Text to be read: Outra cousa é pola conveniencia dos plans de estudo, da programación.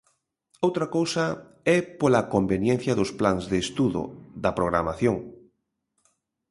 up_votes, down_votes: 2, 0